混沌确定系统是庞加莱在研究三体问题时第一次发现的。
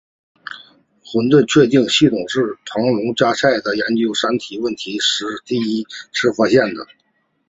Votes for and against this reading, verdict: 2, 0, accepted